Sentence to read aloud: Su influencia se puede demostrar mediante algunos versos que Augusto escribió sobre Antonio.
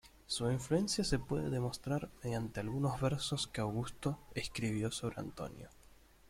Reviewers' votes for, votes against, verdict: 1, 2, rejected